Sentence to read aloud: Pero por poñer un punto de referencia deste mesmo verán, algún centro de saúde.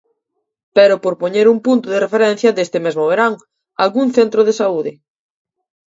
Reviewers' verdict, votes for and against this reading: accepted, 2, 0